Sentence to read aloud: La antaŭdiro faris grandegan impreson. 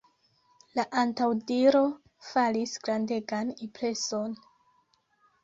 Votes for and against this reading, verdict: 1, 2, rejected